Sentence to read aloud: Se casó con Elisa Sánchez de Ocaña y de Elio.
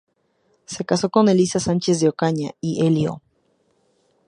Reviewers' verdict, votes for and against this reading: accepted, 2, 0